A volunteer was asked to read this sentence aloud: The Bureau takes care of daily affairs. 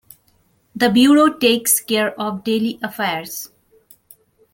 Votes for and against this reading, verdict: 2, 0, accepted